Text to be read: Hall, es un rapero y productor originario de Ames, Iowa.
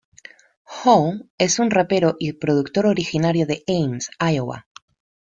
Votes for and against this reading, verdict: 2, 0, accepted